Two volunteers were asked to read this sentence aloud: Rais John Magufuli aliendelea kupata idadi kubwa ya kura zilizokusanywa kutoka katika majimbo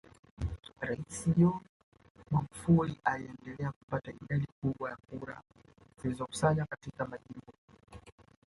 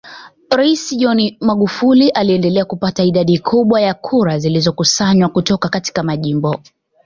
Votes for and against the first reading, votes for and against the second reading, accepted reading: 0, 2, 2, 1, second